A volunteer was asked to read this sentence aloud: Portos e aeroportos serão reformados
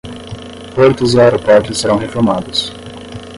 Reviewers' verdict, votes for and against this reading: rejected, 5, 5